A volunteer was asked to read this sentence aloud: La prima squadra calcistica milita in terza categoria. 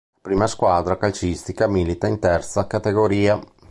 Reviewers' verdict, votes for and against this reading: rejected, 1, 3